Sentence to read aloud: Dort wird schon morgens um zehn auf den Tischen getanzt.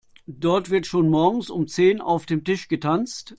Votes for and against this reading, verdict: 0, 2, rejected